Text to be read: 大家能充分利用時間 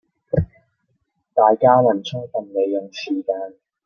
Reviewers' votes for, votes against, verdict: 0, 2, rejected